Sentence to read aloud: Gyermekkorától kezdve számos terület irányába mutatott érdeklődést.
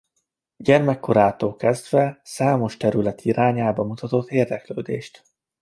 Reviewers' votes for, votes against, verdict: 2, 0, accepted